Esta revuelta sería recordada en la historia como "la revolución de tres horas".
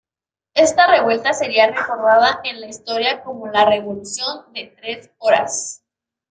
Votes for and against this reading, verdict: 2, 0, accepted